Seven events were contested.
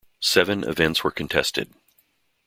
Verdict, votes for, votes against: accepted, 2, 0